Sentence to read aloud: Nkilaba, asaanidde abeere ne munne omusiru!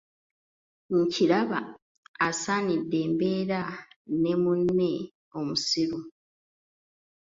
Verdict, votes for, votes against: rejected, 0, 2